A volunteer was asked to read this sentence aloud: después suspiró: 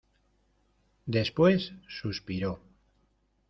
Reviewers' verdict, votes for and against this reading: accepted, 2, 0